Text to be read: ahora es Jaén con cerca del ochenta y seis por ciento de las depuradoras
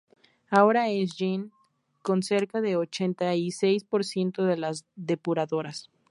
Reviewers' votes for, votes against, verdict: 2, 0, accepted